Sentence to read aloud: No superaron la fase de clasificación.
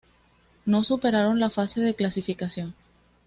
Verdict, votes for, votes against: accepted, 2, 0